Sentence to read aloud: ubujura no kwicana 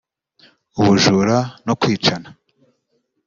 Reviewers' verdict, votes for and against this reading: accepted, 2, 0